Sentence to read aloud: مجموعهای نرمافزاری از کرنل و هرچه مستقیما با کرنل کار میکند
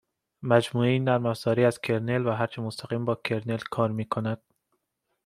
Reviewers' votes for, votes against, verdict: 2, 0, accepted